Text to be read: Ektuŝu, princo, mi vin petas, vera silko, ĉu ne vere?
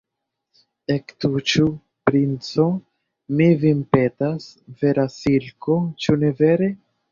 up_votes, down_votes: 0, 2